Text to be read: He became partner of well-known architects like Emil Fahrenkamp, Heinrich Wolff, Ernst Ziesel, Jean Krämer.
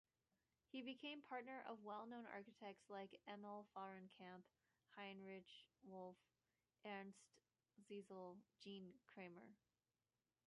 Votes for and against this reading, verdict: 2, 1, accepted